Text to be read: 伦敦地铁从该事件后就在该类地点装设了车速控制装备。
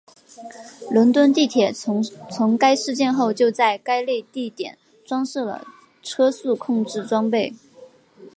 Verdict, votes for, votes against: rejected, 1, 2